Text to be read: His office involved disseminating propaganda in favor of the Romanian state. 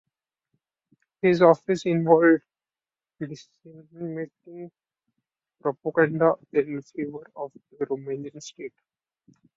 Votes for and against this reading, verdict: 0, 2, rejected